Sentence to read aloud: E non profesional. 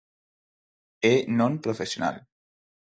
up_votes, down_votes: 6, 0